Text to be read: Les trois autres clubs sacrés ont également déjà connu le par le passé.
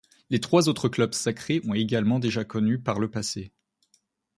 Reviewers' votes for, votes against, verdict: 1, 2, rejected